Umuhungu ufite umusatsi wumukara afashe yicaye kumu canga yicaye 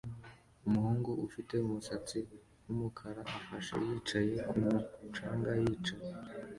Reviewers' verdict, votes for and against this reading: accepted, 2, 0